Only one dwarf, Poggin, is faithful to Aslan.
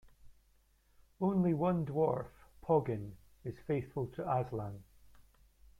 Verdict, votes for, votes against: accepted, 2, 0